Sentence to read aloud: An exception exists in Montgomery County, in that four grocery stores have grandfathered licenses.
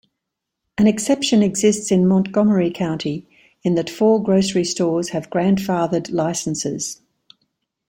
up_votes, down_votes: 2, 0